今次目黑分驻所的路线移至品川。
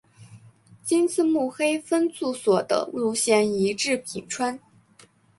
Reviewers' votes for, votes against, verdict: 2, 0, accepted